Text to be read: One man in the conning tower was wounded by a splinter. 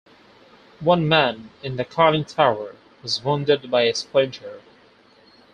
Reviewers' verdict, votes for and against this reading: accepted, 2, 0